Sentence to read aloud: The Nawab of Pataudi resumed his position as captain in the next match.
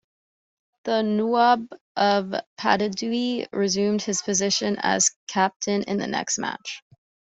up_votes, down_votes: 1, 2